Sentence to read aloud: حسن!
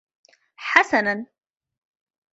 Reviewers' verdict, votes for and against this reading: rejected, 0, 2